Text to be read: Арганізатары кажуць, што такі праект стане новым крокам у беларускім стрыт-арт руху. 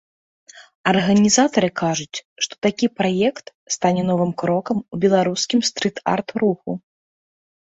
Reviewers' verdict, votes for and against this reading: accepted, 2, 0